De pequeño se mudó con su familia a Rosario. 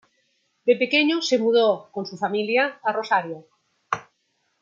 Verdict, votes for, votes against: rejected, 1, 2